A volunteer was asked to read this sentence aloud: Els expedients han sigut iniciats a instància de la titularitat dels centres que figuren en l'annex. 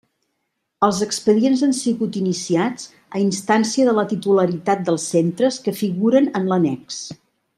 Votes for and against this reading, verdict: 3, 0, accepted